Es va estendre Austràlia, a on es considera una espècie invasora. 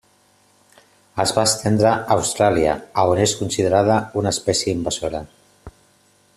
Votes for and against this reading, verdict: 0, 2, rejected